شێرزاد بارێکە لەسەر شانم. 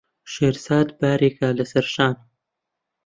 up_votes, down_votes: 1, 2